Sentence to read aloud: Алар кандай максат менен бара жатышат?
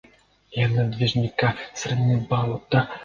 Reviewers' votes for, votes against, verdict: 0, 2, rejected